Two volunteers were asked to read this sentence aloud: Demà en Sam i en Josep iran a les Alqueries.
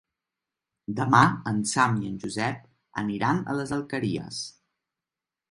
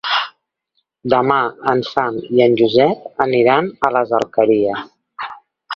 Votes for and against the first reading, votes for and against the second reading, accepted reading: 0, 2, 2, 1, second